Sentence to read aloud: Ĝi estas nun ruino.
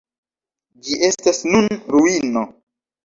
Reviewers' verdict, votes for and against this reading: accepted, 2, 1